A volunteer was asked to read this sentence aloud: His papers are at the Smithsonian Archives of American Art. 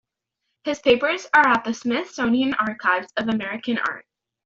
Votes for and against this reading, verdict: 2, 0, accepted